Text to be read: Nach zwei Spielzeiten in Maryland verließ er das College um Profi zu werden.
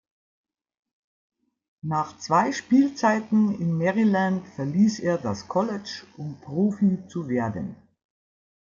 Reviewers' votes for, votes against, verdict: 2, 0, accepted